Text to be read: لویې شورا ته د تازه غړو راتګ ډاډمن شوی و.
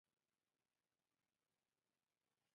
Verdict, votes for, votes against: rejected, 0, 2